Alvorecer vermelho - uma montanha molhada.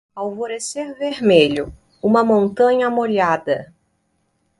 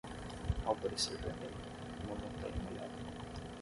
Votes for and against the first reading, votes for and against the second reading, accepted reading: 2, 0, 3, 6, first